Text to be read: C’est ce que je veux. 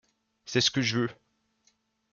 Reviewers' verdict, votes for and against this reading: rejected, 1, 2